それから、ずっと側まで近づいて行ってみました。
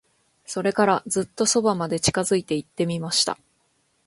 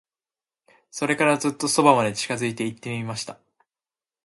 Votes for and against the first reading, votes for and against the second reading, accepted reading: 2, 0, 0, 2, first